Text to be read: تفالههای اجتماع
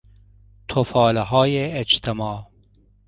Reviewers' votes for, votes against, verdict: 2, 0, accepted